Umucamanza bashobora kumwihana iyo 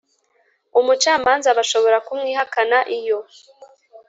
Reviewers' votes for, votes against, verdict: 0, 2, rejected